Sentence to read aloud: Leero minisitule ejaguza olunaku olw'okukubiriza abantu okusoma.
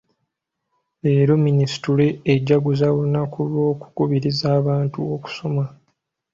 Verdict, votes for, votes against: rejected, 0, 2